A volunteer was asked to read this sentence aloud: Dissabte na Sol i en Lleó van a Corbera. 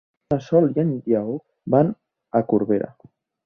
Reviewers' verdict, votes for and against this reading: rejected, 0, 2